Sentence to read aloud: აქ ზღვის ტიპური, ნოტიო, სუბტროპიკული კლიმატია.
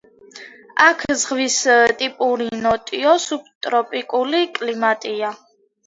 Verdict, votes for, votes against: accepted, 2, 1